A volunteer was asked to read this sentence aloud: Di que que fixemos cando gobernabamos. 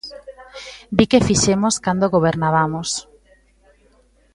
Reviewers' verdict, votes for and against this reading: rejected, 0, 2